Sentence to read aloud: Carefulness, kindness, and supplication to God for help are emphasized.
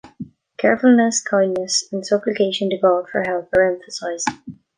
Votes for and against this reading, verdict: 0, 2, rejected